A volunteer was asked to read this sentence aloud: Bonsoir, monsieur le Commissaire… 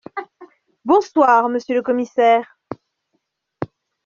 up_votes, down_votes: 2, 0